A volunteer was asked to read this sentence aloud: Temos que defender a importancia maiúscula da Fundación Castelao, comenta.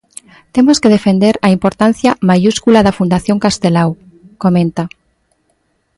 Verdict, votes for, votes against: accepted, 2, 1